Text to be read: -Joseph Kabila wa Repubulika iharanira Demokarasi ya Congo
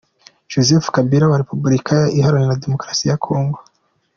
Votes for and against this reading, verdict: 2, 0, accepted